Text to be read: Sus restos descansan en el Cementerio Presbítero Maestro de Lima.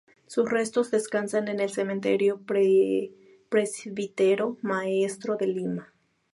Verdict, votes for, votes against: rejected, 0, 4